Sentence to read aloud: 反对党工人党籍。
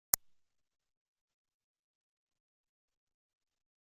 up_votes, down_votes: 0, 2